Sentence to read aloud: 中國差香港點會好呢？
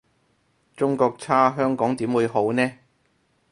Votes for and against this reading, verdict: 2, 2, rejected